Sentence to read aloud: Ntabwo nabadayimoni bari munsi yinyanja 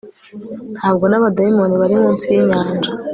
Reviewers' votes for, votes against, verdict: 2, 0, accepted